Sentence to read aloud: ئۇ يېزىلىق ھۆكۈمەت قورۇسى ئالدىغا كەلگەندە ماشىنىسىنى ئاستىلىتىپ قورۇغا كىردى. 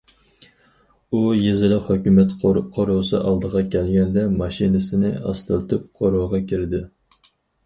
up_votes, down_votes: 2, 2